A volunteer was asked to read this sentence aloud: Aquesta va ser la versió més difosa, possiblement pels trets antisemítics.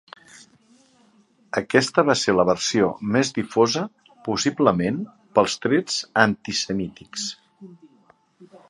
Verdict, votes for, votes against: accepted, 2, 0